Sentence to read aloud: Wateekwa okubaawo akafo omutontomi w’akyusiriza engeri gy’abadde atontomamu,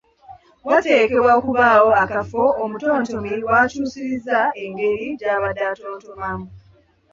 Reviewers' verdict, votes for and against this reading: rejected, 0, 2